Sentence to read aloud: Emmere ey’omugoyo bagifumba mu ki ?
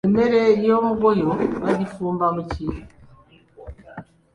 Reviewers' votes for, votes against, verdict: 2, 0, accepted